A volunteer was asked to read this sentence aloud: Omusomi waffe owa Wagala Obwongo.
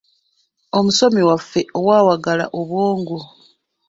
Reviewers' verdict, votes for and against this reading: rejected, 0, 2